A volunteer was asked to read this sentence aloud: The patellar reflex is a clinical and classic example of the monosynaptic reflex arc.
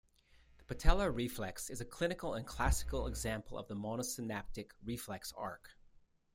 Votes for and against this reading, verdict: 1, 2, rejected